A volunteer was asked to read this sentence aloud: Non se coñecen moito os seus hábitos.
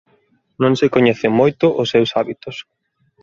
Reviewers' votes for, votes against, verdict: 2, 0, accepted